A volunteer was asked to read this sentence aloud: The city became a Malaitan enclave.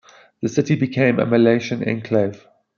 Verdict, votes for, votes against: accepted, 2, 0